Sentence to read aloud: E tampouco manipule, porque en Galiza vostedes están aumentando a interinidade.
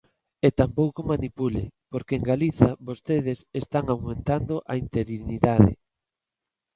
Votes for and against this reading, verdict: 2, 0, accepted